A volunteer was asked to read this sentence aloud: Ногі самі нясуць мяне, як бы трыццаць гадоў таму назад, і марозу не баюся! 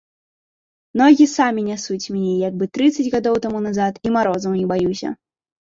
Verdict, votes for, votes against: rejected, 1, 2